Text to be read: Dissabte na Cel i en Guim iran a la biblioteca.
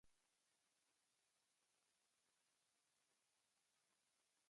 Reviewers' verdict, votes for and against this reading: rejected, 0, 2